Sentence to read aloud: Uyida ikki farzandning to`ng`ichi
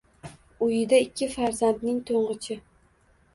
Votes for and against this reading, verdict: 2, 0, accepted